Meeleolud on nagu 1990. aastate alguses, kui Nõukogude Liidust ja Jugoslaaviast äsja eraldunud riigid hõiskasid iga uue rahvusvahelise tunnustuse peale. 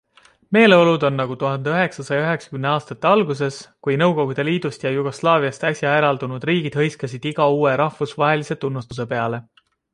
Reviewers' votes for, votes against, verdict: 0, 2, rejected